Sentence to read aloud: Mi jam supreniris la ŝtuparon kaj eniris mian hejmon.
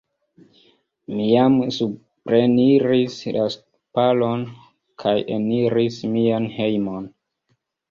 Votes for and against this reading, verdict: 1, 2, rejected